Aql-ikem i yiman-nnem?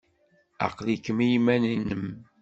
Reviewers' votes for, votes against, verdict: 2, 0, accepted